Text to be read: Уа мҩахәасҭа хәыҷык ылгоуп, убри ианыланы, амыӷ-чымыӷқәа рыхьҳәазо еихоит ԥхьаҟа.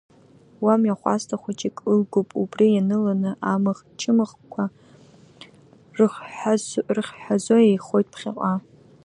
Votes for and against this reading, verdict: 1, 2, rejected